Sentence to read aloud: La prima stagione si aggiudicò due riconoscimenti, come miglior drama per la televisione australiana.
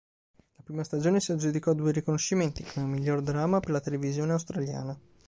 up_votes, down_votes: 0, 2